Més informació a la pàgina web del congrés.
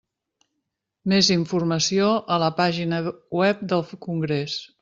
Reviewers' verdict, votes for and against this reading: rejected, 1, 2